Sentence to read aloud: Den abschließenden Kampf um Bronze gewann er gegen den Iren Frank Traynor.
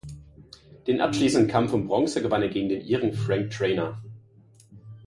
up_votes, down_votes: 2, 0